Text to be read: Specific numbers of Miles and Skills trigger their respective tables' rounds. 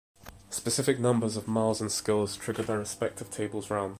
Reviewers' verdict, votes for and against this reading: accepted, 2, 1